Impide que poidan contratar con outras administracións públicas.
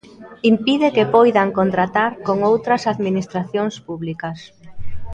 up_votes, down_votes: 2, 0